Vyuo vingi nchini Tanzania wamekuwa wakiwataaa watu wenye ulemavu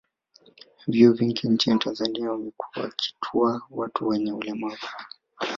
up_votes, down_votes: 1, 2